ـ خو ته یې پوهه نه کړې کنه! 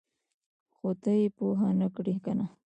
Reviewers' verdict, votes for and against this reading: rejected, 0, 2